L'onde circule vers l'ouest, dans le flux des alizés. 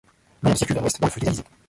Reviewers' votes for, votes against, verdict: 0, 2, rejected